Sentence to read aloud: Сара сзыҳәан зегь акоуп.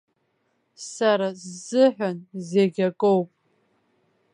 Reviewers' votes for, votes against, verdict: 2, 0, accepted